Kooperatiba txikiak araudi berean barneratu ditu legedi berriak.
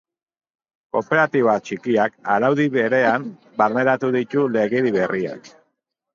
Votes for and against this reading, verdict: 2, 0, accepted